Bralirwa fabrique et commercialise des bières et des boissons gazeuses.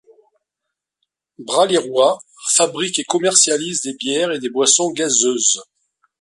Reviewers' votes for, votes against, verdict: 2, 0, accepted